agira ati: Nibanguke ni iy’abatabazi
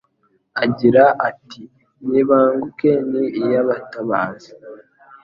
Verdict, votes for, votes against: accepted, 2, 0